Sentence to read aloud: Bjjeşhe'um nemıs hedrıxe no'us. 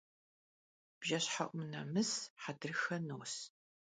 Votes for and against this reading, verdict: 2, 0, accepted